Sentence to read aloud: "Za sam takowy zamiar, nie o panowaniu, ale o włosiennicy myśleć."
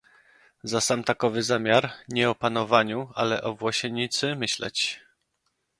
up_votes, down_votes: 0, 2